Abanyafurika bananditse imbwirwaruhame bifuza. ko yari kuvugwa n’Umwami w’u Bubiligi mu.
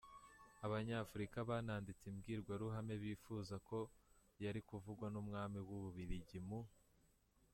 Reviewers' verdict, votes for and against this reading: rejected, 1, 2